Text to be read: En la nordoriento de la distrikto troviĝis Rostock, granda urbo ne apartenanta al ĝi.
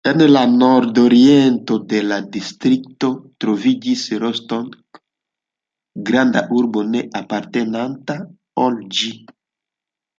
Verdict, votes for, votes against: rejected, 0, 2